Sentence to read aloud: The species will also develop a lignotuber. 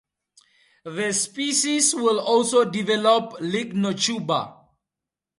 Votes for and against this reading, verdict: 0, 2, rejected